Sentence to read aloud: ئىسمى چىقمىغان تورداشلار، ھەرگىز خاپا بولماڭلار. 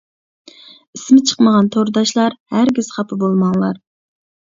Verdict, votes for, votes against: accepted, 2, 0